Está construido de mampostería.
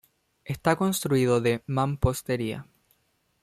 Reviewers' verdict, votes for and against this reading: accepted, 2, 0